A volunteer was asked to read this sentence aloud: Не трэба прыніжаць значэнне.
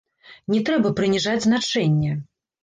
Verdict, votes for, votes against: rejected, 1, 2